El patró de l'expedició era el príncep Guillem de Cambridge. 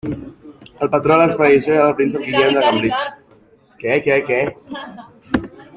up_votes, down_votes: 0, 2